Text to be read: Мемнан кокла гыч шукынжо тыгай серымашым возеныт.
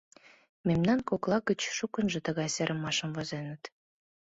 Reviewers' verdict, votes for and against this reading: accepted, 2, 0